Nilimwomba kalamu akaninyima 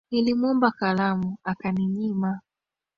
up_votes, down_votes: 3, 1